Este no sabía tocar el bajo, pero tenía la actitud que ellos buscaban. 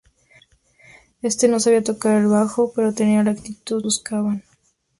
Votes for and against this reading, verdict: 0, 2, rejected